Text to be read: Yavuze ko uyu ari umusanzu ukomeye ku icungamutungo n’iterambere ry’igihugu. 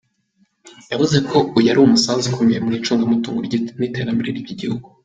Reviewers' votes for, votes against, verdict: 3, 0, accepted